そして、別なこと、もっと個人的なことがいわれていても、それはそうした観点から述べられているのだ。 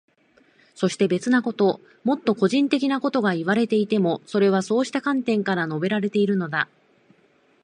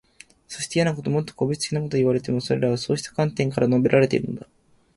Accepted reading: first